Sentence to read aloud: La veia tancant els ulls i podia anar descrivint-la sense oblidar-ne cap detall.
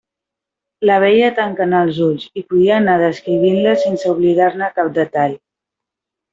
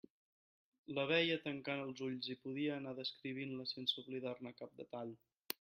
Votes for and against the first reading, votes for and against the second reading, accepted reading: 0, 2, 3, 0, second